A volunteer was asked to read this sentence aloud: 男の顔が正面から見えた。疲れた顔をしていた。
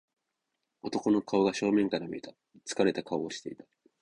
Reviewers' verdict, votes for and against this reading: accepted, 2, 0